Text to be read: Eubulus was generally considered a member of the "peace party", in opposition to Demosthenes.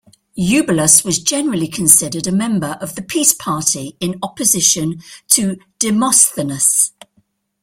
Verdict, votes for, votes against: accepted, 2, 0